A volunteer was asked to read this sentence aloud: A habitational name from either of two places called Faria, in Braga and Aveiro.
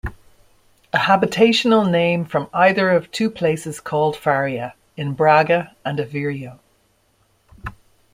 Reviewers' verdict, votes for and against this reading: accepted, 2, 0